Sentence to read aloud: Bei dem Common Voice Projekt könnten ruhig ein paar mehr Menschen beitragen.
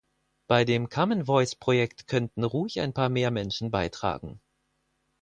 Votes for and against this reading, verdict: 4, 0, accepted